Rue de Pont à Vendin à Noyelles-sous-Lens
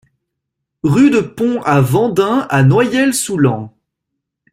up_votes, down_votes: 1, 2